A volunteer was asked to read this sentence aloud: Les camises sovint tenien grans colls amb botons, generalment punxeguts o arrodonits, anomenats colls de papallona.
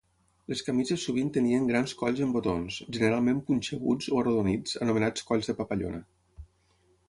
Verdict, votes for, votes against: accepted, 6, 0